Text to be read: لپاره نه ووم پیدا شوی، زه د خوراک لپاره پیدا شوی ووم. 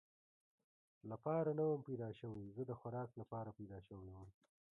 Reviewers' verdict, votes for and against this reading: rejected, 0, 2